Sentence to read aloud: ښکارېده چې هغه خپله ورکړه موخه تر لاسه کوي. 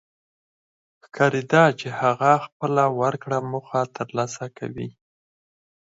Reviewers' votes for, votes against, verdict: 2, 4, rejected